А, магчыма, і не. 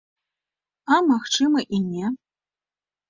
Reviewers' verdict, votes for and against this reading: accepted, 2, 0